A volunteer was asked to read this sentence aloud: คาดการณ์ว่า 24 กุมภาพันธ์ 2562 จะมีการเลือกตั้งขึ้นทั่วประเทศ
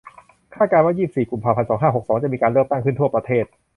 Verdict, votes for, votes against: rejected, 0, 2